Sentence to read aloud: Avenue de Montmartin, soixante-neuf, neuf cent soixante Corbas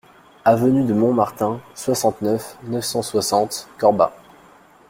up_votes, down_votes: 2, 0